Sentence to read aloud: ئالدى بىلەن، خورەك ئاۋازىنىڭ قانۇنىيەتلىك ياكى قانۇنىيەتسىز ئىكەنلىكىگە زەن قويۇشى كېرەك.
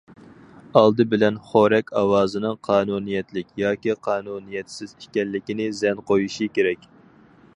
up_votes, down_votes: 0, 4